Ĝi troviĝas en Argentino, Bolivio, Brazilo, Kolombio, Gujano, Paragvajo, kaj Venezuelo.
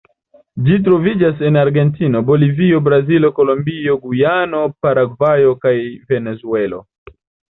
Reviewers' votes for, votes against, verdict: 2, 0, accepted